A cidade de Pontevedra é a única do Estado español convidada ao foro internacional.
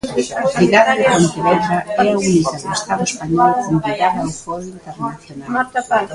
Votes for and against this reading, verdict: 0, 2, rejected